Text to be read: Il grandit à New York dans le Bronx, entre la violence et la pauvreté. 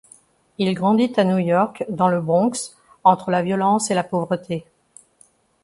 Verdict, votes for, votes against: accepted, 2, 0